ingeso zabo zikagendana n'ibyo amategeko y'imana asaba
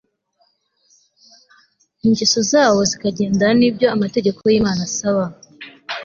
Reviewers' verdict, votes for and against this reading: accepted, 2, 0